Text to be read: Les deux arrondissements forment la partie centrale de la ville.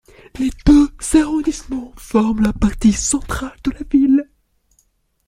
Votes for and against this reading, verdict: 0, 2, rejected